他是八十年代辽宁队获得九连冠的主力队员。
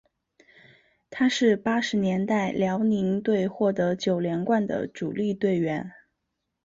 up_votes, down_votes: 2, 0